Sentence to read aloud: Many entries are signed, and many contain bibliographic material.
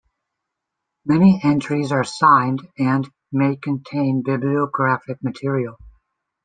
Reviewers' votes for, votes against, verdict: 1, 2, rejected